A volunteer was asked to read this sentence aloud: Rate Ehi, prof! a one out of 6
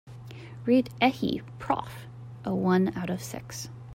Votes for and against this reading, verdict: 0, 2, rejected